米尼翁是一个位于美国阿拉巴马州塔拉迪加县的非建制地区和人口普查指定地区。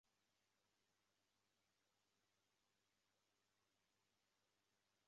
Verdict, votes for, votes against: rejected, 0, 3